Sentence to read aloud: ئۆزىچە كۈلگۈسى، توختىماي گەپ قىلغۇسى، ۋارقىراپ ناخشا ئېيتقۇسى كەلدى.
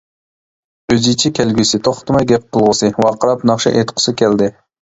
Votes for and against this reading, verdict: 0, 2, rejected